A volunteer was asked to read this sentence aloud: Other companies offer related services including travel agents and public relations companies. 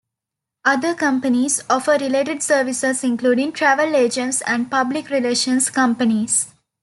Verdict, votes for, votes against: accepted, 2, 1